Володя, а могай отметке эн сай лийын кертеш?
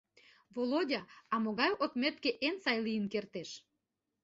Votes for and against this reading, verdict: 2, 0, accepted